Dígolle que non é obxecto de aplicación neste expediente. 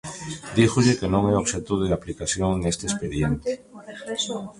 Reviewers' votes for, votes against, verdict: 1, 3, rejected